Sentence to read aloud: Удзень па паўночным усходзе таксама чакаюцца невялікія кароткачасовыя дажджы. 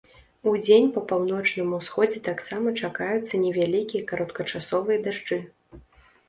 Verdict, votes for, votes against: accepted, 2, 0